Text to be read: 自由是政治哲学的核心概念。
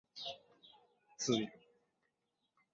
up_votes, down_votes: 0, 4